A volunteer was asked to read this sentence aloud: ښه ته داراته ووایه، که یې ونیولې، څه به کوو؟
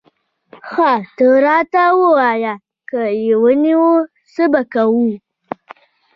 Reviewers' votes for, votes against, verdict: 2, 0, accepted